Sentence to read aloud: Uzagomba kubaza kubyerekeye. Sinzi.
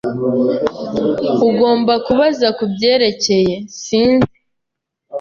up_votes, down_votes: 0, 2